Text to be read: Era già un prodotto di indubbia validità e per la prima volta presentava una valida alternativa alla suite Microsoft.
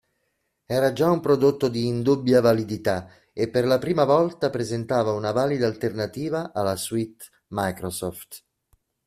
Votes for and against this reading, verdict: 2, 0, accepted